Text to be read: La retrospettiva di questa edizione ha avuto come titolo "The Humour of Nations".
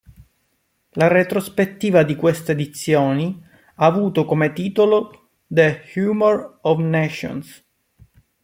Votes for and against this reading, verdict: 0, 2, rejected